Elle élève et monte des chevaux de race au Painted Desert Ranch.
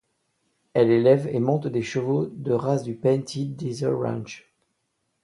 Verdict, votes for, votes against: rejected, 0, 2